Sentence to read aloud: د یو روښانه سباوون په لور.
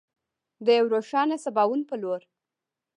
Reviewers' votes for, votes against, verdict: 3, 0, accepted